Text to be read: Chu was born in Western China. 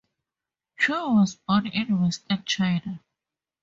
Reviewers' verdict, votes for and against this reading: accepted, 2, 0